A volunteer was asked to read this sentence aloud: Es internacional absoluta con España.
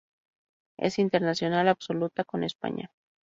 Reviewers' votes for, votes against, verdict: 2, 0, accepted